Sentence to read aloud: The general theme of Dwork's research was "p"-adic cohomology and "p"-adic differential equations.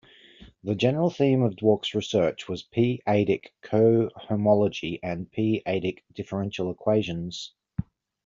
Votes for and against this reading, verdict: 0, 2, rejected